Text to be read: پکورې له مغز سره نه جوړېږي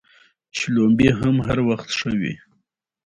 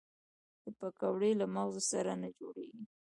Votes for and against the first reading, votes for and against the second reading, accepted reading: 2, 1, 1, 2, first